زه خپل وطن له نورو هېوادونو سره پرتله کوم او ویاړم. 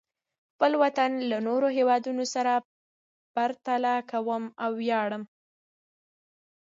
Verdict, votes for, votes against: accepted, 2, 0